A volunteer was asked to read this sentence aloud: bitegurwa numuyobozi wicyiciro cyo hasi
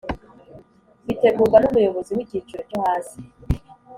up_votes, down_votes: 3, 0